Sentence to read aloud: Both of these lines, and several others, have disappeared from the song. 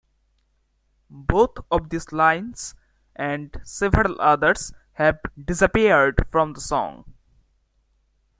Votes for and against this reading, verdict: 2, 0, accepted